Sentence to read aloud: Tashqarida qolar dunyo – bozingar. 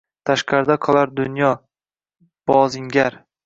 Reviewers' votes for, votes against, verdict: 1, 2, rejected